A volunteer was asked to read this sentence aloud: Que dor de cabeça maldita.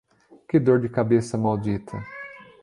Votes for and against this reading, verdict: 1, 2, rejected